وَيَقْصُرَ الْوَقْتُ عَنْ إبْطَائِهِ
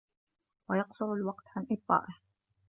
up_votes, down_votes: 2, 0